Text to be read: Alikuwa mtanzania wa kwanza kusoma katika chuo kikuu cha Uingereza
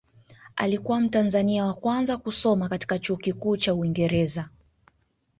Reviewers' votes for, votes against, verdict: 1, 2, rejected